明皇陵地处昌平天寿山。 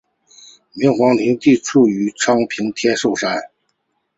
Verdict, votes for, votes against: accepted, 2, 1